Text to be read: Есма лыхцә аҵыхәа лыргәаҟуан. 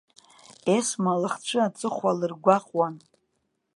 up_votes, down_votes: 2, 0